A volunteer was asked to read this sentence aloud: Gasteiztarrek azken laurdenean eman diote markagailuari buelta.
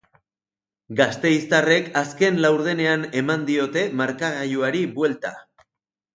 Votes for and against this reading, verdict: 2, 0, accepted